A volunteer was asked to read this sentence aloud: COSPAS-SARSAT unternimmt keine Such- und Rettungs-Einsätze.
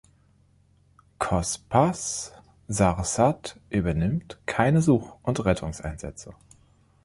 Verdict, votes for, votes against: rejected, 1, 2